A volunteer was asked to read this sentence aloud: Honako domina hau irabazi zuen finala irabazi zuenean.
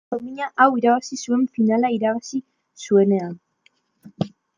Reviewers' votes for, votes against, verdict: 0, 2, rejected